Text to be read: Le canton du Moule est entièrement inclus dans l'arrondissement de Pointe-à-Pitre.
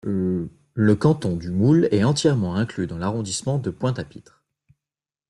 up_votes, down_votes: 2, 0